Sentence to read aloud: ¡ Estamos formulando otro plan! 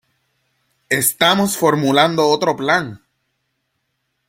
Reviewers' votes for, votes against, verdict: 2, 0, accepted